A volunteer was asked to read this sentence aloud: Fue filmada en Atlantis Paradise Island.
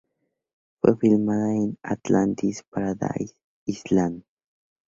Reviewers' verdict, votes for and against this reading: accepted, 2, 0